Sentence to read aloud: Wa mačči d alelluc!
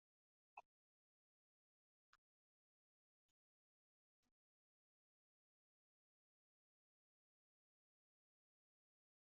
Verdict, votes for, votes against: rejected, 0, 2